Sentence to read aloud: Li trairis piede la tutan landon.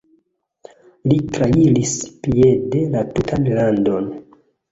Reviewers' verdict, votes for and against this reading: accepted, 2, 1